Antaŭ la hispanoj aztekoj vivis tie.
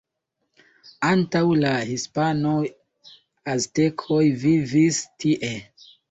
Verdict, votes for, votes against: rejected, 0, 2